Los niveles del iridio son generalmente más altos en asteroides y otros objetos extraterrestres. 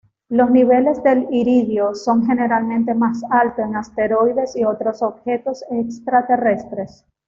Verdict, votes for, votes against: accepted, 2, 0